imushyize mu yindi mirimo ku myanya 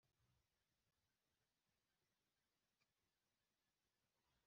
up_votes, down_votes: 0, 2